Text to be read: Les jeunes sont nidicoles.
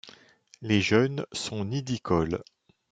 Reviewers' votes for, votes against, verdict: 3, 0, accepted